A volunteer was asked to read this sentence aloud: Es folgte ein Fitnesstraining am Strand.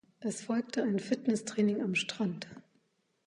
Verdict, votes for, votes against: accepted, 2, 0